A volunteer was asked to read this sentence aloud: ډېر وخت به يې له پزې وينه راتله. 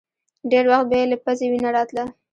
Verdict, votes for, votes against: rejected, 1, 2